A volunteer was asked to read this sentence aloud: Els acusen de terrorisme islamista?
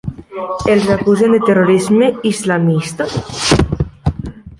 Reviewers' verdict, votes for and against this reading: accepted, 3, 0